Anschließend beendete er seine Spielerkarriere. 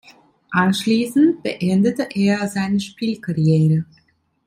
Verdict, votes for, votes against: rejected, 0, 2